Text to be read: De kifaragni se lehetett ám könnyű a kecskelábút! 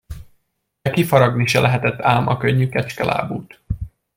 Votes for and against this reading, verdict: 1, 2, rejected